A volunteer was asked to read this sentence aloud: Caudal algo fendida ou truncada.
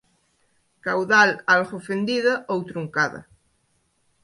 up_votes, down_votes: 2, 0